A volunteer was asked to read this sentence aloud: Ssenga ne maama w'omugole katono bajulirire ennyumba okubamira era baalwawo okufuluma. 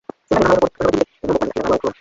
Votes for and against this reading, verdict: 0, 2, rejected